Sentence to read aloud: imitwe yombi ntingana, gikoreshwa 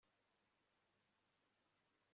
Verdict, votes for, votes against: rejected, 0, 2